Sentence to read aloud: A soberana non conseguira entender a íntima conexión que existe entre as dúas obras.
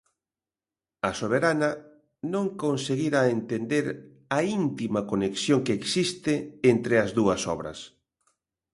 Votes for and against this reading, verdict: 2, 0, accepted